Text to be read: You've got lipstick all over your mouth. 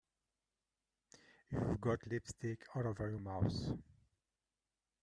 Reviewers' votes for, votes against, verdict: 1, 2, rejected